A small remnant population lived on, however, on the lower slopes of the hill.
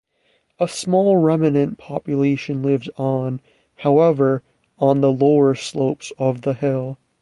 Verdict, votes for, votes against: rejected, 2, 2